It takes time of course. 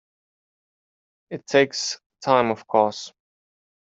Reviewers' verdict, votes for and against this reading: accepted, 3, 0